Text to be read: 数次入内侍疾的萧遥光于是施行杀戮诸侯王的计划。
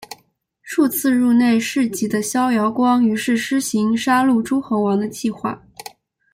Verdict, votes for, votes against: accepted, 2, 1